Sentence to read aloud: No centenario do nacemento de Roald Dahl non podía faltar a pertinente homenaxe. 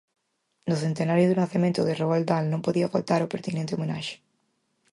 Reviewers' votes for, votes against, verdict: 0, 4, rejected